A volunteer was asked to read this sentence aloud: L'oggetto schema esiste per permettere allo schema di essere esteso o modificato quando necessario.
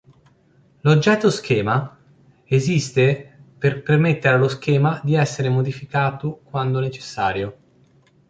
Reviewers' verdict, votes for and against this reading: rejected, 0, 2